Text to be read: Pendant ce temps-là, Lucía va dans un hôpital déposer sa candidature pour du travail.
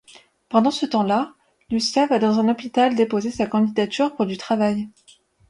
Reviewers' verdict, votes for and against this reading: accepted, 2, 0